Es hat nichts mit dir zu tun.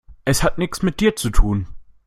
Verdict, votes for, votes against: rejected, 0, 2